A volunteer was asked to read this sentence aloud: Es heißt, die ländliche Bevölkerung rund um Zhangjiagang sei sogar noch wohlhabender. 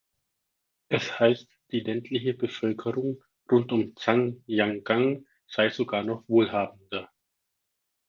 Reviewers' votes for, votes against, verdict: 2, 4, rejected